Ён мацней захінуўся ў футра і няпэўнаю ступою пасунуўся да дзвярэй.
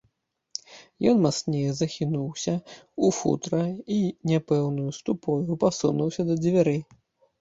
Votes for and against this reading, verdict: 1, 2, rejected